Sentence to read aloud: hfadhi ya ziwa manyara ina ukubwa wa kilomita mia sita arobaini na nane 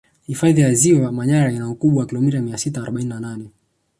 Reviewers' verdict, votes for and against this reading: accepted, 2, 0